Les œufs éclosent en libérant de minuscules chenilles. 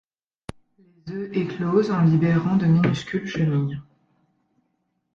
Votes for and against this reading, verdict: 1, 3, rejected